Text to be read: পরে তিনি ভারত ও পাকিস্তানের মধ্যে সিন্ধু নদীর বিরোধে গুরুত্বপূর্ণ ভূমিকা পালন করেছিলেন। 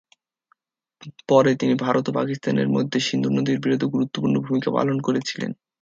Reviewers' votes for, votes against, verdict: 2, 2, rejected